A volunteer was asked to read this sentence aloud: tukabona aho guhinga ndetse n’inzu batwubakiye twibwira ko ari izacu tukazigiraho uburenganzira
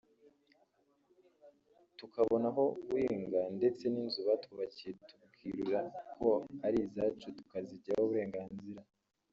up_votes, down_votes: 0, 2